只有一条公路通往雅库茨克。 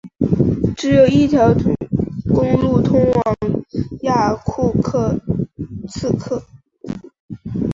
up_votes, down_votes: 0, 3